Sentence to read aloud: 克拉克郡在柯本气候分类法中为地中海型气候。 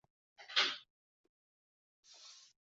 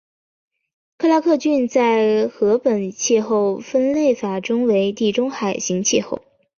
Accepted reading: second